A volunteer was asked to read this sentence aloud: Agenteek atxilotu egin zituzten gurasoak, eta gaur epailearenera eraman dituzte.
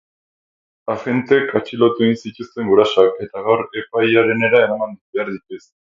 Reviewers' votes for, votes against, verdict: 0, 2, rejected